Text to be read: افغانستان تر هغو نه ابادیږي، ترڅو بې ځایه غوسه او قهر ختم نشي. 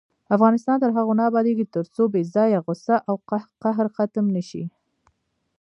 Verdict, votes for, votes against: rejected, 1, 2